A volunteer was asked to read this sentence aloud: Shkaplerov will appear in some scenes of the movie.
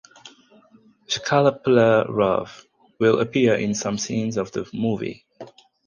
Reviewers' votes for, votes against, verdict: 6, 0, accepted